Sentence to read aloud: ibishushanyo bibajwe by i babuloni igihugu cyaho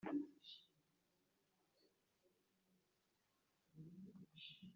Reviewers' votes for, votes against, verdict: 1, 2, rejected